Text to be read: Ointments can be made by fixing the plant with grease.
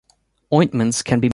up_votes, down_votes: 0, 2